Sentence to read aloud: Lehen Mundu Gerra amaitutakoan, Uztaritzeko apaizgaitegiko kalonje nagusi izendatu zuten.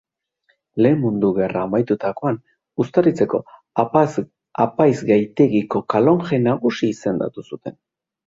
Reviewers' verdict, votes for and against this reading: rejected, 0, 3